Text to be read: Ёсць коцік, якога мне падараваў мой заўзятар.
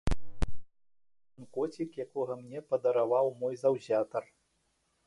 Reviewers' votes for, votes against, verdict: 1, 2, rejected